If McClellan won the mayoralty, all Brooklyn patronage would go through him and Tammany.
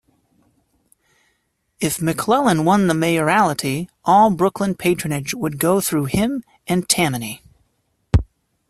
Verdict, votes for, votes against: accepted, 2, 1